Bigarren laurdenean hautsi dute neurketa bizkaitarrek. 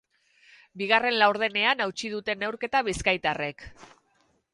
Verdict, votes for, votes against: accepted, 4, 0